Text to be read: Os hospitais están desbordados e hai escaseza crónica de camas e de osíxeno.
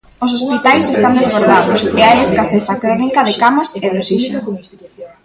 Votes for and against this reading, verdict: 1, 2, rejected